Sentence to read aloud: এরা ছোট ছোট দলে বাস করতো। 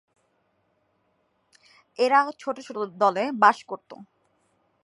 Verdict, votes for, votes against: rejected, 1, 2